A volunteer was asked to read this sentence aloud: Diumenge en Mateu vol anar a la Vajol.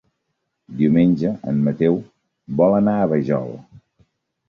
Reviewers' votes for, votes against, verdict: 0, 2, rejected